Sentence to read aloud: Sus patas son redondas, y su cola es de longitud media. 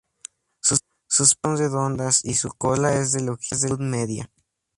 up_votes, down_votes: 0, 2